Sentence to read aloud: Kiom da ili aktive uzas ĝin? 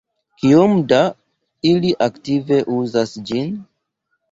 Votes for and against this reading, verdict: 2, 0, accepted